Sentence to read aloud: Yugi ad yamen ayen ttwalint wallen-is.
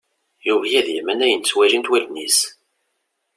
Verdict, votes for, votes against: accepted, 2, 0